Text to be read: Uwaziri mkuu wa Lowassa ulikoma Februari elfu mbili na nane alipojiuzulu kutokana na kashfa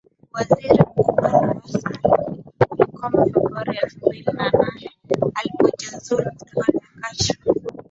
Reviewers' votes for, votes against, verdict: 0, 2, rejected